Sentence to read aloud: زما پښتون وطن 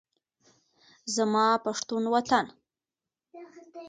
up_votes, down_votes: 2, 0